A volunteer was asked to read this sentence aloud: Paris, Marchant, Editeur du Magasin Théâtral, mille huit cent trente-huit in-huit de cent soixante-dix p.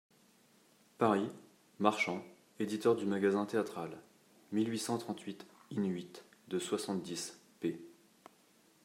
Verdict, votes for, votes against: rejected, 0, 2